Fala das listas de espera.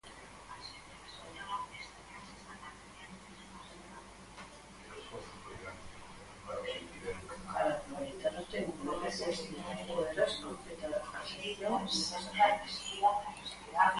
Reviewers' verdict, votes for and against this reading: rejected, 0, 4